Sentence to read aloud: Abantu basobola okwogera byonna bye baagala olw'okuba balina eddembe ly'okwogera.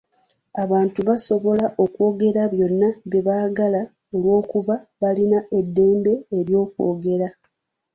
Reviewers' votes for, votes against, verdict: 2, 0, accepted